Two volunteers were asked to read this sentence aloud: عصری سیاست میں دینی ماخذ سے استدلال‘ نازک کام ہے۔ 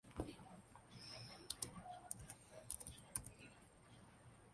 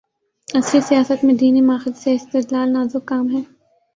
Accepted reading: second